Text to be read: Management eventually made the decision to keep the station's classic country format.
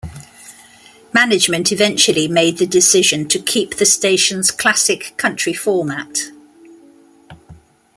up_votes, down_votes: 2, 0